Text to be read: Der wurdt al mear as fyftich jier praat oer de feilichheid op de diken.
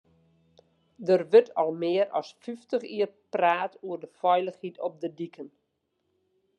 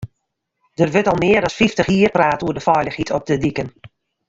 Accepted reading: first